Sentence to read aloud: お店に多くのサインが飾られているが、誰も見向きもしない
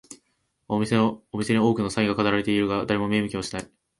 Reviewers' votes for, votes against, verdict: 3, 5, rejected